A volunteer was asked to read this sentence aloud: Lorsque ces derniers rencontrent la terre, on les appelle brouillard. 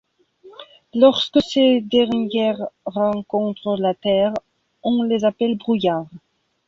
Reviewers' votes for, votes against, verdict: 0, 2, rejected